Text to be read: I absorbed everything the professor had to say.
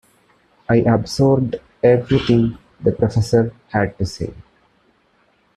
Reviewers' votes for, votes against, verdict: 2, 0, accepted